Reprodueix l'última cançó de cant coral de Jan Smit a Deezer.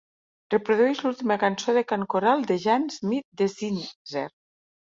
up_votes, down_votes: 2, 3